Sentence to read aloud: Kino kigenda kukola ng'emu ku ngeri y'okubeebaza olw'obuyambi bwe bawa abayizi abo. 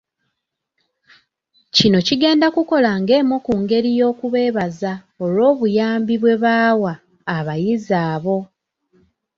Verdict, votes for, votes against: accepted, 2, 0